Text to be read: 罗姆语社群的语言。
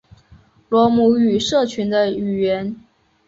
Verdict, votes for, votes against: accepted, 3, 0